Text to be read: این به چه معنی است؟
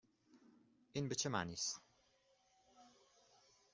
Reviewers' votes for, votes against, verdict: 2, 0, accepted